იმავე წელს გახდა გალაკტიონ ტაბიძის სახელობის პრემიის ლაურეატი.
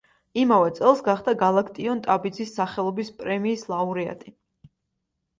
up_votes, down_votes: 2, 0